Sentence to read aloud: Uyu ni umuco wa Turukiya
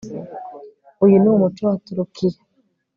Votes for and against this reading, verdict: 2, 0, accepted